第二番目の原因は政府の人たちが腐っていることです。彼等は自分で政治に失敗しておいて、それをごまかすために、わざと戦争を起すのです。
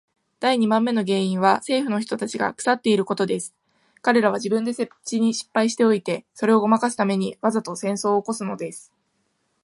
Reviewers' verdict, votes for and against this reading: accepted, 2, 0